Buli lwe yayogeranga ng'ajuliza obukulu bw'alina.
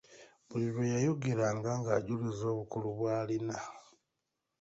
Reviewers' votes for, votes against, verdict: 2, 1, accepted